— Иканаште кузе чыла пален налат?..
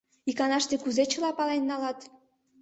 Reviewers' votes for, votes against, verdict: 2, 0, accepted